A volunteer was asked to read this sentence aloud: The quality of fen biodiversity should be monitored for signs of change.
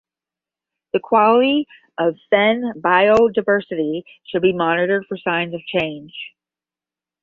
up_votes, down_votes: 10, 0